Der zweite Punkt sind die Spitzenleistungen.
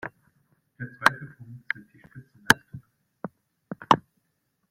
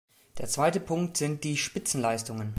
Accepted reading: second